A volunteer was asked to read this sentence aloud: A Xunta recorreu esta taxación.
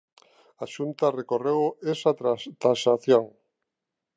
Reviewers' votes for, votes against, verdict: 0, 2, rejected